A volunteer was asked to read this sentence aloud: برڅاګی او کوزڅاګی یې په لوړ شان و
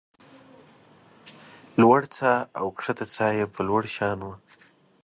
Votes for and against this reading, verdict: 0, 2, rejected